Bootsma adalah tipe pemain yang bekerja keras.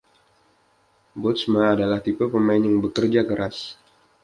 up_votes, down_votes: 2, 0